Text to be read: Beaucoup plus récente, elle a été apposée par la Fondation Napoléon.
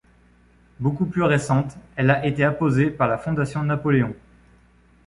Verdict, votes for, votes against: accepted, 2, 0